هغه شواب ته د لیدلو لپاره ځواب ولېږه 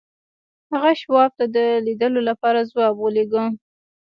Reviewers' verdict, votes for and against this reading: accepted, 2, 1